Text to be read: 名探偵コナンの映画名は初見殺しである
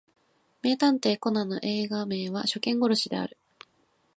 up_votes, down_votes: 7, 0